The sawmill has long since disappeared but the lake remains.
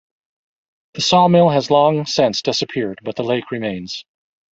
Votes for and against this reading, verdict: 1, 2, rejected